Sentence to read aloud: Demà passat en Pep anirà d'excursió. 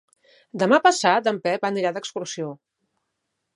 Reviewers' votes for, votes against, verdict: 3, 0, accepted